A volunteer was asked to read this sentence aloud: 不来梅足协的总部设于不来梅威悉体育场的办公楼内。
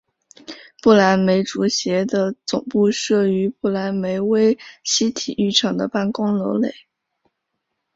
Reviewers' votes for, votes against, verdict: 2, 0, accepted